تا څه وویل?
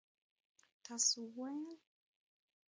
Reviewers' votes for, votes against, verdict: 0, 2, rejected